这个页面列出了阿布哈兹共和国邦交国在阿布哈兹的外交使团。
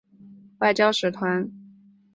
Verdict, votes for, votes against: rejected, 0, 5